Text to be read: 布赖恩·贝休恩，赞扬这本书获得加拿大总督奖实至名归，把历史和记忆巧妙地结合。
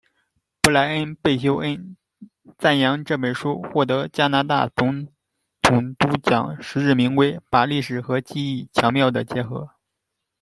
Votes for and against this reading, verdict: 1, 2, rejected